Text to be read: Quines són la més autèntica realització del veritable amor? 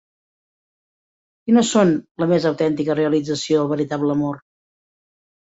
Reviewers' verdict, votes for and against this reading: accepted, 2, 1